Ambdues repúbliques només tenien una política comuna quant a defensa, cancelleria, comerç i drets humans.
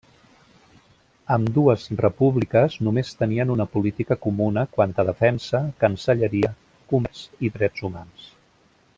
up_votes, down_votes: 0, 2